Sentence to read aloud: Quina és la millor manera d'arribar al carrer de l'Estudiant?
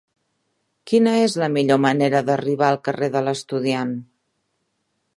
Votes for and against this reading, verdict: 3, 0, accepted